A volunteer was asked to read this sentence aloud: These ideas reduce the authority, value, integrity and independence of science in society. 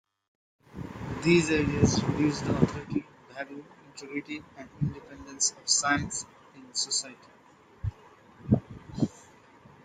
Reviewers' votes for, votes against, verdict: 2, 1, accepted